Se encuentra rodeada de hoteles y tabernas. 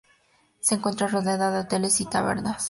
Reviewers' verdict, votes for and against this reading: accepted, 4, 0